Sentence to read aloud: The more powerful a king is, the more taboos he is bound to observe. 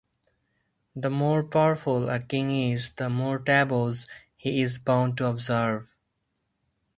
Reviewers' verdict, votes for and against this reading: accepted, 4, 0